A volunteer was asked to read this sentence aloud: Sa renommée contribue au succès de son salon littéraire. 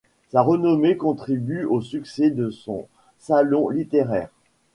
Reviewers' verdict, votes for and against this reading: rejected, 0, 2